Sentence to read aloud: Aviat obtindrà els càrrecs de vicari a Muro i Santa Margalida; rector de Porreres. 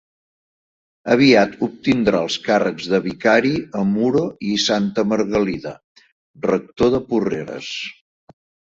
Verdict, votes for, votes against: accepted, 3, 0